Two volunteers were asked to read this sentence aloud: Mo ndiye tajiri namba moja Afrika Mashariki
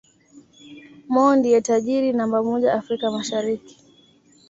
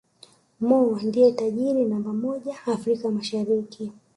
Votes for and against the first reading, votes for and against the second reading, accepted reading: 2, 0, 1, 2, first